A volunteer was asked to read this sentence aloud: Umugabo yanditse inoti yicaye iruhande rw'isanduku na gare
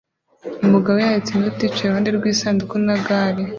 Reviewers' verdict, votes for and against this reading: accepted, 2, 0